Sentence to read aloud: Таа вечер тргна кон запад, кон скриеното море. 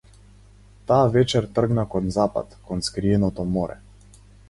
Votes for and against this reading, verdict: 4, 0, accepted